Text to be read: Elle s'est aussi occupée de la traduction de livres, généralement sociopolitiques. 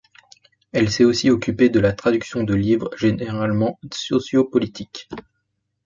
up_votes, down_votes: 1, 2